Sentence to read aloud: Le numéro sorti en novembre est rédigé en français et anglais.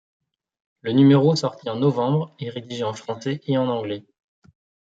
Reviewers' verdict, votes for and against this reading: rejected, 1, 2